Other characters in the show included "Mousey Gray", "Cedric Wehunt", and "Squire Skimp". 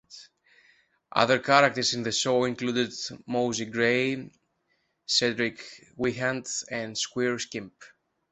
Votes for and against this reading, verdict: 2, 0, accepted